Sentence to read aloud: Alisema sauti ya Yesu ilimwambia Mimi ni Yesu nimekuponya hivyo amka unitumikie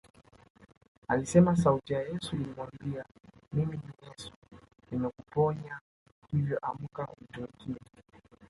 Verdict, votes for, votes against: rejected, 1, 2